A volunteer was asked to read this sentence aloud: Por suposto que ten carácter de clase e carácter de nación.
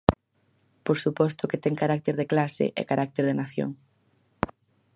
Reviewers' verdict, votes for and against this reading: accepted, 4, 0